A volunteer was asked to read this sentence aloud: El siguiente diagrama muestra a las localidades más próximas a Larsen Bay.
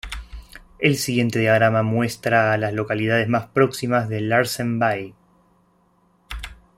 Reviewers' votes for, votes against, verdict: 1, 2, rejected